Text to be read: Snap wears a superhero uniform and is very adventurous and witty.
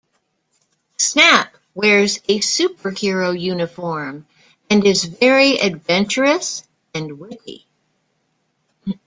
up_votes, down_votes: 2, 0